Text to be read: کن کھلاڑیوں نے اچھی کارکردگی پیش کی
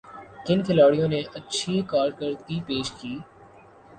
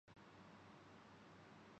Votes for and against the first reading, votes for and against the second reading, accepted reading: 2, 0, 1, 9, first